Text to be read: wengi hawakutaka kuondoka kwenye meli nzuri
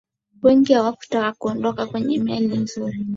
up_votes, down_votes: 4, 0